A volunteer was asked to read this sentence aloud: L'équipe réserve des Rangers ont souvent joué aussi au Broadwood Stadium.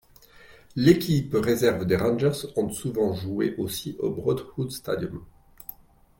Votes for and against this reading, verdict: 2, 0, accepted